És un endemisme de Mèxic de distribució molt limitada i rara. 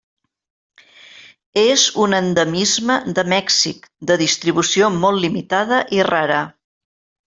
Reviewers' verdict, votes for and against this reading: accepted, 3, 0